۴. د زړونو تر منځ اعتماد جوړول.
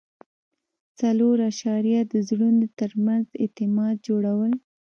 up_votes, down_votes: 0, 2